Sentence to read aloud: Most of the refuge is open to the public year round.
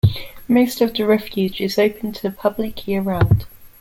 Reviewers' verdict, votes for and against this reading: accepted, 2, 0